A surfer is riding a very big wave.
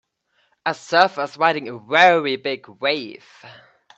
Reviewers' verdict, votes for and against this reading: rejected, 1, 2